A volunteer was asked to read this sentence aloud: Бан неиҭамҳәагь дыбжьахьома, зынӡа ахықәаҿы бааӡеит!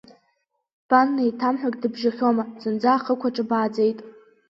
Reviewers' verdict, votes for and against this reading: accepted, 6, 0